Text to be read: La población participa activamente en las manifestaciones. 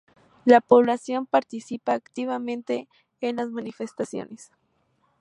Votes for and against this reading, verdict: 2, 0, accepted